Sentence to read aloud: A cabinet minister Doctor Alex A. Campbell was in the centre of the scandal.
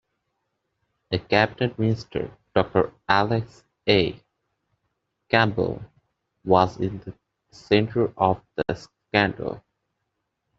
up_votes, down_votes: 2, 0